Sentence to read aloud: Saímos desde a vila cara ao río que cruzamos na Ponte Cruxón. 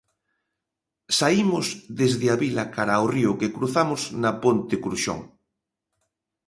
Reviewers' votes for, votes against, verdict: 2, 0, accepted